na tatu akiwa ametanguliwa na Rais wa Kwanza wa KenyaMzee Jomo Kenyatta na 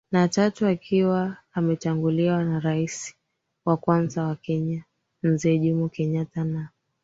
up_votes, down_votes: 2, 3